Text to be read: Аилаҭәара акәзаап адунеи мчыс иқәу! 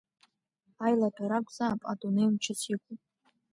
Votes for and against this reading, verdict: 2, 0, accepted